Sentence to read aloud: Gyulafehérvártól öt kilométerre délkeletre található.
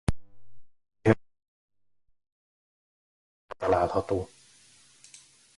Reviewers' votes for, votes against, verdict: 0, 2, rejected